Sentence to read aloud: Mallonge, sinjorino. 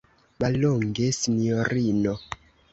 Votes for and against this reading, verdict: 2, 0, accepted